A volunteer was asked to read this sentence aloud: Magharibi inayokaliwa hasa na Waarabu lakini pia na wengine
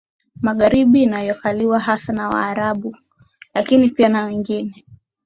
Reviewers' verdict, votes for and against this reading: accepted, 4, 3